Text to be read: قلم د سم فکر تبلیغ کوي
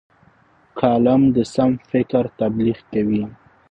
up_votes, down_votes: 2, 0